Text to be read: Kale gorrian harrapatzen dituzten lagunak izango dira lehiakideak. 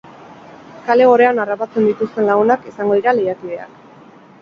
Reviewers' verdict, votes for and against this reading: accepted, 6, 0